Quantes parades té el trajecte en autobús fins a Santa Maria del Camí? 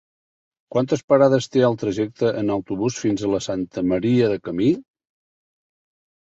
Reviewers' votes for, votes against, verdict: 0, 2, rejected